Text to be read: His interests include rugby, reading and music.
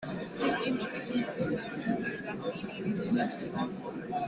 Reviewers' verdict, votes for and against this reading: rejected, 0, 3